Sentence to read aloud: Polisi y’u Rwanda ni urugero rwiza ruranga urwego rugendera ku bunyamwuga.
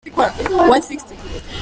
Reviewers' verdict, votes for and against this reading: rejected, 0, 2